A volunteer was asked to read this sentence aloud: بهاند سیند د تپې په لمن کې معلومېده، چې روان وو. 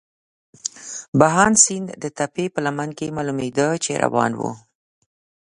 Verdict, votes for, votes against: accepted, 2, 0